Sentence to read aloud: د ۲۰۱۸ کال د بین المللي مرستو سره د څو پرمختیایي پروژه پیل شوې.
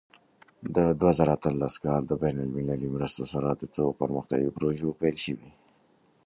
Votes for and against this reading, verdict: 0, 2, rejected